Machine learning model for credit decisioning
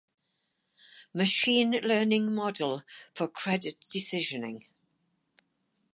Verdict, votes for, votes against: accepted, 4, 0